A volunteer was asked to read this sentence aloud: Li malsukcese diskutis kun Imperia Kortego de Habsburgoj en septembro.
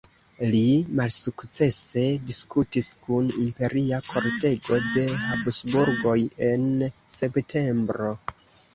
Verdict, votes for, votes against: accepted, 2, 1